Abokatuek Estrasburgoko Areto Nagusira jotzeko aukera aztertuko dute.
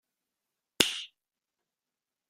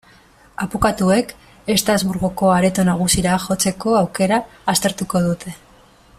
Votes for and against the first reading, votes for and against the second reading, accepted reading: 0, 2, 2, 0, second